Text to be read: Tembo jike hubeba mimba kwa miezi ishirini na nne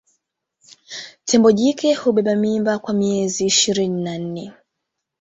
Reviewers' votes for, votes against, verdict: 1, 2, rejected